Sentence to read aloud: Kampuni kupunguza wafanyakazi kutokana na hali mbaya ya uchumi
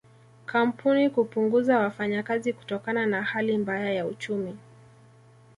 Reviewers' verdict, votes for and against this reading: accepted, 2, 0